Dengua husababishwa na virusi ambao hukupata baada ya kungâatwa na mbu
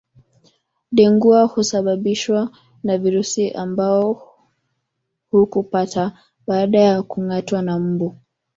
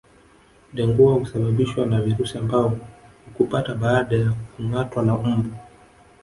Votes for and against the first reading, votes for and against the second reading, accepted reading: 2, 3, 3, 0, second